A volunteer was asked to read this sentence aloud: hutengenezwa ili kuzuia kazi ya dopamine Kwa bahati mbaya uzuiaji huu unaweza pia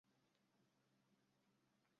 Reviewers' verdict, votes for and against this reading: rejected, 0, 2